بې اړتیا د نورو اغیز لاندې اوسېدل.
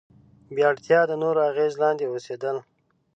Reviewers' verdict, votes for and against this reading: accepted, 2, 0